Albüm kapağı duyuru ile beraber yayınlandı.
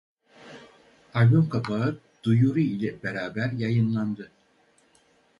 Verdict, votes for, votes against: accepted, 2, 0